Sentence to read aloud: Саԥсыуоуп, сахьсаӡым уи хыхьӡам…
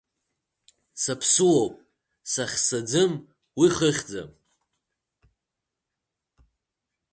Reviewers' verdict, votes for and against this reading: rejected, 0, 2